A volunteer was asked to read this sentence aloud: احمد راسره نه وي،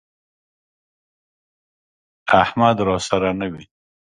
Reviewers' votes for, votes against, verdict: 1, 2, rejected